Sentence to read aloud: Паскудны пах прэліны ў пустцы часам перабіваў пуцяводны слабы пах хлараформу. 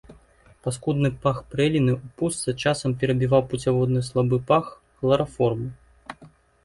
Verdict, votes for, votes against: accepted, 2, 0